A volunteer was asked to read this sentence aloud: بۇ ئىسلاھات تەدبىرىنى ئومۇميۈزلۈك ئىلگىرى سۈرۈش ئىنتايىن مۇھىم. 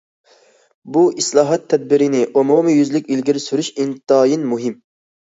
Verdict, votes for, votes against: accepted, 2, 0